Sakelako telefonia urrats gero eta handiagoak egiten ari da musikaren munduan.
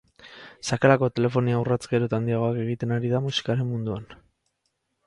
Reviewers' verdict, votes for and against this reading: accepted, 4, 0